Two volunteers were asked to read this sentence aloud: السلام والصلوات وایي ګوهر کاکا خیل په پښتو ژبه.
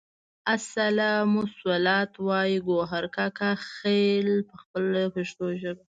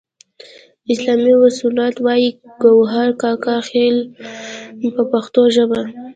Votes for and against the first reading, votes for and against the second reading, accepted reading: 0, 2, 2, 0, second